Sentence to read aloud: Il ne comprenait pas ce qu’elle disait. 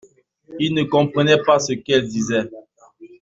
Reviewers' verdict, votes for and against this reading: accepted, 2, 0